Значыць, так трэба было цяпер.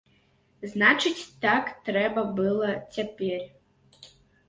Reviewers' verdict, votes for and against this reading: rejected, 0, 2